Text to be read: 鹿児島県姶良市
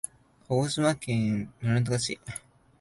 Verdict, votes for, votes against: rejected, 2, 3